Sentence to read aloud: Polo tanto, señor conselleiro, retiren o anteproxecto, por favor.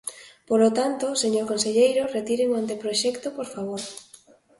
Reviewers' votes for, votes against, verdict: 2, 0, accepted